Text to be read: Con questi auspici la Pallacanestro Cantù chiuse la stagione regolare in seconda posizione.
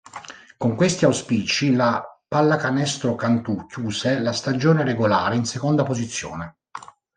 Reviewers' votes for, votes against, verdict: 2, 0, accepted